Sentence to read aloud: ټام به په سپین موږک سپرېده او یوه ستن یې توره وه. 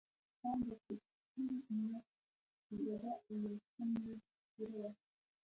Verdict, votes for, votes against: rejected, 0, 2